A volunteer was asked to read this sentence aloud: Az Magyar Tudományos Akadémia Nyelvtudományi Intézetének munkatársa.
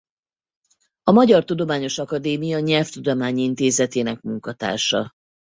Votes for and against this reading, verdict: 0, 4, rejected